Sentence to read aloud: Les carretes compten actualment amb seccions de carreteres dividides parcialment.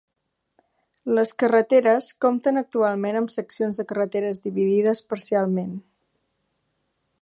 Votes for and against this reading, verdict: 1, 2, rejected